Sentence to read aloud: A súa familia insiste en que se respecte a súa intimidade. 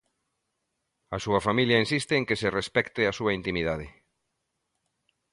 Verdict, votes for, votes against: accepted, 2, 0